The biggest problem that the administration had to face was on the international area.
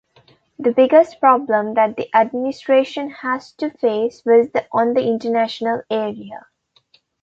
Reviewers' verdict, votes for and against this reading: rejected, 1, 2